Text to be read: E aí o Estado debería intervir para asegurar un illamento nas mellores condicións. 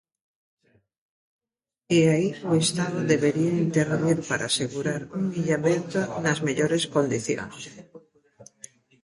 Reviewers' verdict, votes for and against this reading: rejected, 1, 2